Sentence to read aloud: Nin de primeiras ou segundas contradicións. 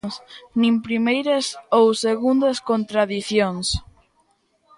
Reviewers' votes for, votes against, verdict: 0, 2, rejected